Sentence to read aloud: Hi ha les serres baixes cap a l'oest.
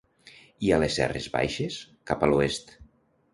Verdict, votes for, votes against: accepted, 2, 0